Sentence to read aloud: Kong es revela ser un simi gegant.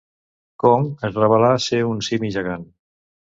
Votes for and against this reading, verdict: 0, 2, rejected